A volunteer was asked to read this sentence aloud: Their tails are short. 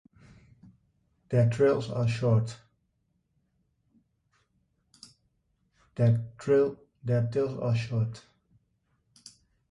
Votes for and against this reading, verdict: 1, 2, rejected